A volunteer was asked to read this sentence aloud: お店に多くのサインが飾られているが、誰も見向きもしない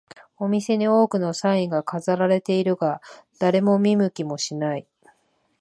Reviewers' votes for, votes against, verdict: 2, 0, accepted